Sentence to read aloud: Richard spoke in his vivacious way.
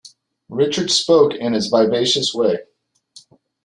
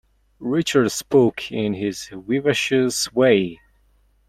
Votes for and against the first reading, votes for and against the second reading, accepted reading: 2, 0, 0, 2, first